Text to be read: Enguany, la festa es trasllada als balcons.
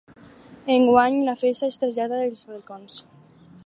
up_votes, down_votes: 4, 0